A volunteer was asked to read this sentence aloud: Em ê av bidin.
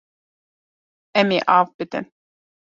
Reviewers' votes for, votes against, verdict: 2, 0, accepted